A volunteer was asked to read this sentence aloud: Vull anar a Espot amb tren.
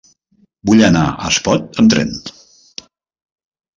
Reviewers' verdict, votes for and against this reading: accepted, 3, 0